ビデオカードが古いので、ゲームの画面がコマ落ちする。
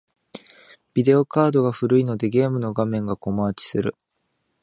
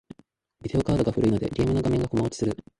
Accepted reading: first